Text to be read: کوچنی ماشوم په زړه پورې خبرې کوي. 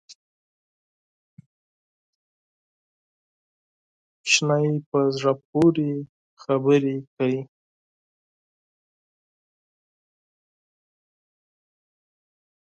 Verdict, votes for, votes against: rejected, 2, 4